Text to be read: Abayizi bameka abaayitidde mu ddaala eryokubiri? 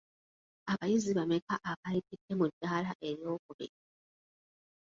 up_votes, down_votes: 1, 2